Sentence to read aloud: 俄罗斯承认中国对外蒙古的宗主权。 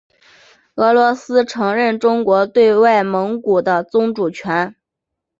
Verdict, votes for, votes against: accepted, 5, 0